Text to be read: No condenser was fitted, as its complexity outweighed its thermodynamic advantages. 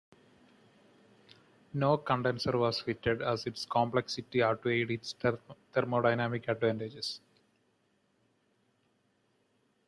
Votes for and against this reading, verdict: 1, 2, rejected